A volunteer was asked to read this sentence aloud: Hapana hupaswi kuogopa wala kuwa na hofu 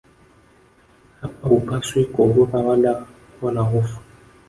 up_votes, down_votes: 1, 2